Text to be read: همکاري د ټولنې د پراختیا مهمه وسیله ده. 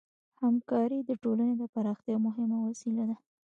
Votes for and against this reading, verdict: 1, 2, rejected